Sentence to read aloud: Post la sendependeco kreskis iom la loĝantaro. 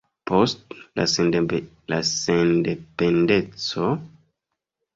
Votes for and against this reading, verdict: 0, 2, rejected